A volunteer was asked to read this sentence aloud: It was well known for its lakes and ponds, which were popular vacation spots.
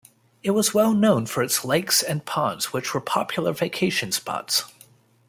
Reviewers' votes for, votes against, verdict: 2, 0, accepted